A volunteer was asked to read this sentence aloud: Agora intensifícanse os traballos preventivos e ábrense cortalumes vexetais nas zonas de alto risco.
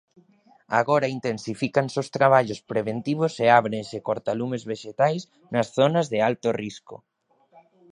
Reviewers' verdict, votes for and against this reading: accepted, 2, 0